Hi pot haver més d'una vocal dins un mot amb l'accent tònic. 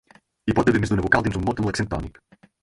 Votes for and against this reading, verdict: 4, 2, accepted